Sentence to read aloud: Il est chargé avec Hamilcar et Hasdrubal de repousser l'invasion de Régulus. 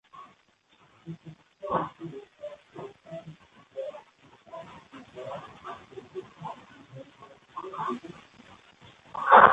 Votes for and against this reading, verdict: 0, 2, rejected